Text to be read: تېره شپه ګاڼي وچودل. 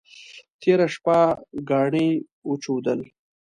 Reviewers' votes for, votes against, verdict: 2, 0, accepted